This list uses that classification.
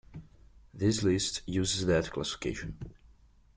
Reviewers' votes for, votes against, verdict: 2, 0, accepted